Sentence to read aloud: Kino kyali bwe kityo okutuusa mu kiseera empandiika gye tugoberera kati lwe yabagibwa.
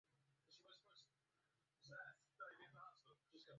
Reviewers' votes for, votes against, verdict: 1, 2, rejected